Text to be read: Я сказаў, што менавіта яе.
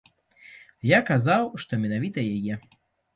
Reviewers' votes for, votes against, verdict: 1, 2, rejected